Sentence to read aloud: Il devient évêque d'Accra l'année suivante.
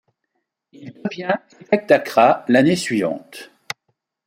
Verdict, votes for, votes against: rejected, 0, 2